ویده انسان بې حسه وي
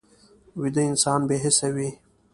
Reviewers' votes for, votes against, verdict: 2, 0, accepted